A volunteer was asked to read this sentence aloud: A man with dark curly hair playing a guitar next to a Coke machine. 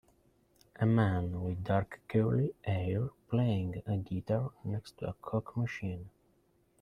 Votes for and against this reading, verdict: 1, 2, rejected